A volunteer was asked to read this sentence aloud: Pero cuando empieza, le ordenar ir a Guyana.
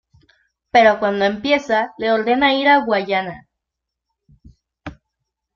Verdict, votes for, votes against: accepted, 2, 1